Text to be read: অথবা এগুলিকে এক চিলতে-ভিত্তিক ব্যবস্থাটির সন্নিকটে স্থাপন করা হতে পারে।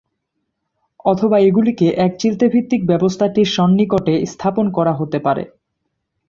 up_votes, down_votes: 15, 0